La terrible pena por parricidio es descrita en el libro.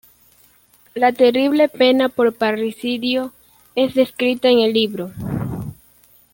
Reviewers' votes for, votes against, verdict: 2, 0, accepted